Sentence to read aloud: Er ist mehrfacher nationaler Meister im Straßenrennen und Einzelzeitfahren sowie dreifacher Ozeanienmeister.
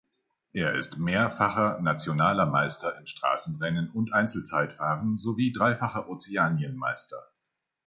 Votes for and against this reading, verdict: 2, 0, accepted